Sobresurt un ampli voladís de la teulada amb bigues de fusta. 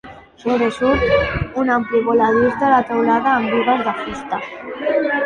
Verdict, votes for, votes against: rejected, 0, 2